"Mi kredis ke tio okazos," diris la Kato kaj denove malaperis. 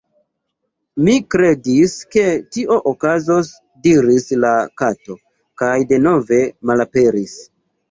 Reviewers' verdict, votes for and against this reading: accepted, 2, 0